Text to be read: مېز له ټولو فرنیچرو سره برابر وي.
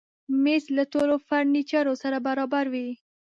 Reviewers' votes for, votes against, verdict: 2, 0, accepted